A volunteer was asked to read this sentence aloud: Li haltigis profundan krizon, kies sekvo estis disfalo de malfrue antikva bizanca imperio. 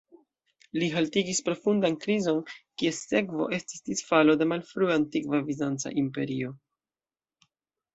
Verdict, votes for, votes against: accepted, 2, 0